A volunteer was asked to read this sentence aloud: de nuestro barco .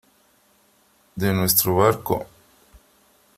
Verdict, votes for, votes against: accepted, 3, 0